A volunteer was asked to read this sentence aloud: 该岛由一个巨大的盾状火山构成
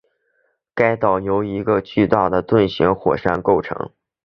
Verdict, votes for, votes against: rejected, 2, 2